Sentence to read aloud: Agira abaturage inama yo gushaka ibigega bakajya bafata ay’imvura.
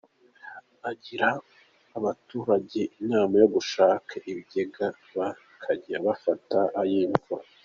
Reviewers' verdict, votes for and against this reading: accepted, 2, 0